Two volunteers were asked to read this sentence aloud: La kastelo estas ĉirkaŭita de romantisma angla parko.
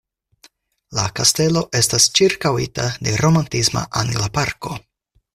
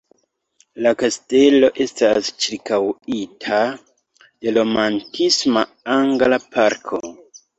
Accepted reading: first